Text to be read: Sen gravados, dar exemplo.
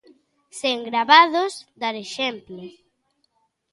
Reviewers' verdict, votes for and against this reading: accepted, 2, 0